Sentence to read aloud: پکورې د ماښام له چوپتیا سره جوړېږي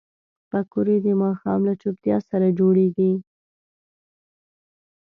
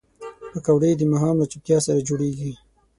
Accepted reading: first